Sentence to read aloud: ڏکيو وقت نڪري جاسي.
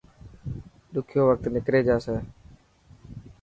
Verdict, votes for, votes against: accepted, 3, 0